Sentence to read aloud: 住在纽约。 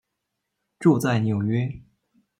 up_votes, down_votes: 2, 0